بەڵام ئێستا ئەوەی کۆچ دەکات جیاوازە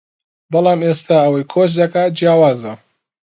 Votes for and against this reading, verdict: 2, 0, accepted